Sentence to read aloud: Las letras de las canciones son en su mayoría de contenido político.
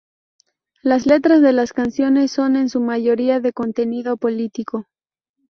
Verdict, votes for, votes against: rejected, 0, 2